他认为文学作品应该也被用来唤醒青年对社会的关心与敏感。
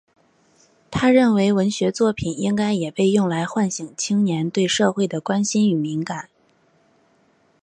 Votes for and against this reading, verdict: 6, 1, accepted